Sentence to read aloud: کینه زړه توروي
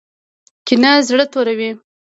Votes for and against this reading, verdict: 2, 0, accepted